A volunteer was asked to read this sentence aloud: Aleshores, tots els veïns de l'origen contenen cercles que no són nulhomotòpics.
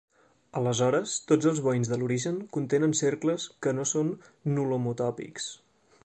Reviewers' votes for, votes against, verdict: 2, 0, accepted